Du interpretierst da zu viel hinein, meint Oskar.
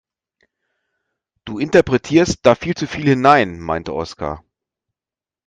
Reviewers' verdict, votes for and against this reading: rejected, 1, 2